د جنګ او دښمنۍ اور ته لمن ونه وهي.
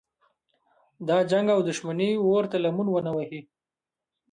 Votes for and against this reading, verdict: 0, 2, rejected